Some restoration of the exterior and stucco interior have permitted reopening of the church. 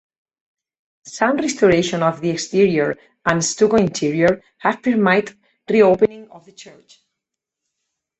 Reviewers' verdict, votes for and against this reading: rejected, 0, 4